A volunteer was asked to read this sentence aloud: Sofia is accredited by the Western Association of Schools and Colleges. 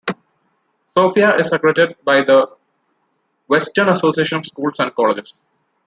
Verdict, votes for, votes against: rejected, 1, 2